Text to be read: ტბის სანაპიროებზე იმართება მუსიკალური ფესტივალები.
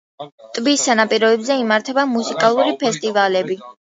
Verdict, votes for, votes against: accepted, 2, 0